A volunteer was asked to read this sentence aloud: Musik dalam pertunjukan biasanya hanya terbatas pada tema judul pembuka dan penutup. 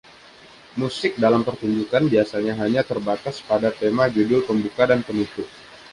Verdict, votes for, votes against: accepted, 2, 0